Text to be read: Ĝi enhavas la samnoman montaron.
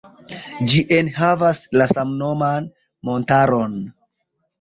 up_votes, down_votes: 2, 0